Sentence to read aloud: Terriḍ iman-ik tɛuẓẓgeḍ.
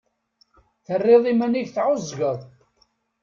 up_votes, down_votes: 2, 0